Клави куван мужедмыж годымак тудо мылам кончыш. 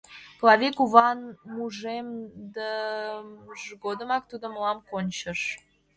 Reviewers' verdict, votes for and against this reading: rejected, 1, 2